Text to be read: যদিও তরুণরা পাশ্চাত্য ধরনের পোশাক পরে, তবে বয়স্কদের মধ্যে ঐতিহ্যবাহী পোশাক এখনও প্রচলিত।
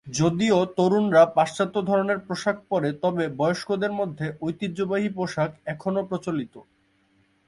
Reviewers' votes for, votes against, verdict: 2, 0, accepted